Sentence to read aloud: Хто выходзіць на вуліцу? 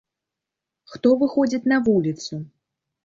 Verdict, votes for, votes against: rejected, 1, 2